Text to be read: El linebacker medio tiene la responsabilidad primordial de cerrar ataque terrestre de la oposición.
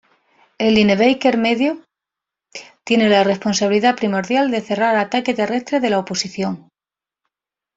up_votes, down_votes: 2, 0